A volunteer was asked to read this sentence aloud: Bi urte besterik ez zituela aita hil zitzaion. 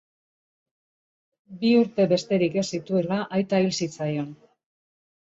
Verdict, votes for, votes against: accepted, 2, 0